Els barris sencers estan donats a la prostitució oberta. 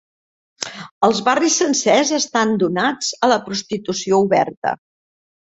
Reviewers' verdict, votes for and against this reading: accepted, 3, 0